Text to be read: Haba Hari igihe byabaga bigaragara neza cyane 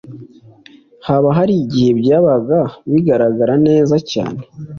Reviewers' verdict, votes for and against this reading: accepted, 2, 0